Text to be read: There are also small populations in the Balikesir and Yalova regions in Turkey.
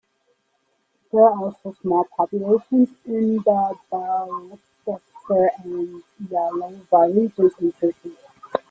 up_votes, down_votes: 0, 2